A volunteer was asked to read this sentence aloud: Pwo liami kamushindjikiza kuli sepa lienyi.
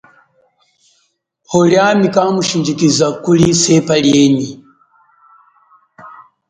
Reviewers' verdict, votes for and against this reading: accepted, 6, 1